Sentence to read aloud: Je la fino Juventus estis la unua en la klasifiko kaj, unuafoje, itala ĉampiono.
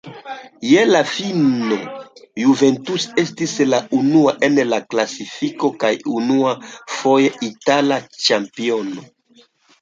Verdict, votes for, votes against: rejected, 1, 2